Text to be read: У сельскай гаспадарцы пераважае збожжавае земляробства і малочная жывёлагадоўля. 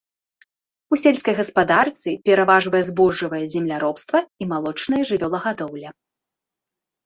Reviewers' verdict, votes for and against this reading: rejected, 1, 2